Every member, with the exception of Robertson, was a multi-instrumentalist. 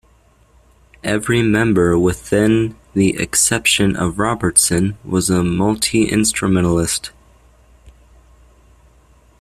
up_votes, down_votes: 1, 2